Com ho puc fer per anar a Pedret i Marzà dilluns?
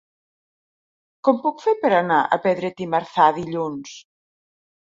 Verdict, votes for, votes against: rejected, 0, 2